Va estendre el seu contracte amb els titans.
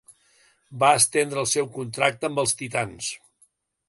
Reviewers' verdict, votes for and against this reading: accepted, 3, 0